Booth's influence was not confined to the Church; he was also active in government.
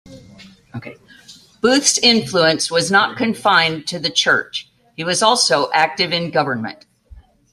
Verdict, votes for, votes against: rejected, 0, 2